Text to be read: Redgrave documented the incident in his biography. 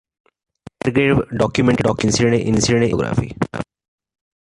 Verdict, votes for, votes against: rejected, 0, 2